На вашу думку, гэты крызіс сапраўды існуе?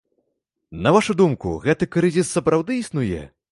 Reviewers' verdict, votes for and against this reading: accepted, 2, 0